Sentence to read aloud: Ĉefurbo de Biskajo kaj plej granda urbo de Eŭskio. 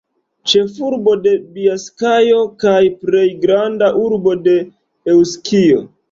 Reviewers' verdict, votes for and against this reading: rejected, 2, 4